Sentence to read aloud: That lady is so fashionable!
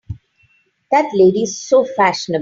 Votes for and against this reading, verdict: 0, 3, rejected